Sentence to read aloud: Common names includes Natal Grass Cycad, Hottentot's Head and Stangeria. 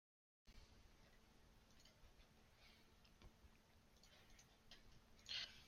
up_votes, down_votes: 0, 2